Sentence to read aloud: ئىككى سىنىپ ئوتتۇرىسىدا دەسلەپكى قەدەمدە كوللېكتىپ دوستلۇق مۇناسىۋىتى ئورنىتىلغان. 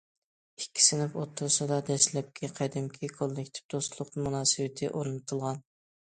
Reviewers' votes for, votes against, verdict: 0, 2, rejected